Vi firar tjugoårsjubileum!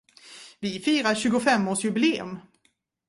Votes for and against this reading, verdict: 1, 2, rejected